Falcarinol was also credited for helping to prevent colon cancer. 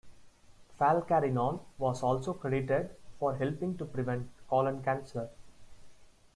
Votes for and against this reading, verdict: 2, 0, accepted